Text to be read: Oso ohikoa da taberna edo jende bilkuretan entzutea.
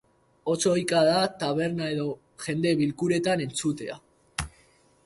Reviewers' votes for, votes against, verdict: 0, 2, rejected